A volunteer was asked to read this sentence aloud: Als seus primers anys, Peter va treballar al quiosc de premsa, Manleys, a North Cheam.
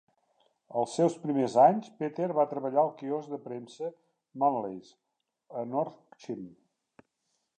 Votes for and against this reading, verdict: 2, 0, accepted